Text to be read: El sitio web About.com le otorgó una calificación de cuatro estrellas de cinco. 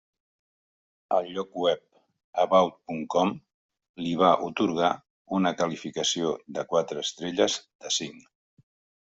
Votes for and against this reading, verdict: 1, 2, rejected